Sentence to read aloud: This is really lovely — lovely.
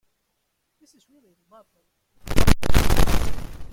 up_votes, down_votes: 0, 2